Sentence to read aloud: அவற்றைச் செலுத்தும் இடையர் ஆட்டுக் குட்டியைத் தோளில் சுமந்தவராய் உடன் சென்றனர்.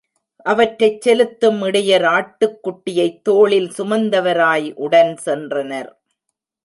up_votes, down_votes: 1, 2